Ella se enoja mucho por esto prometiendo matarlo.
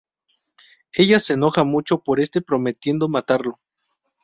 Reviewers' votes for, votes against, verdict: 2, 2, rejected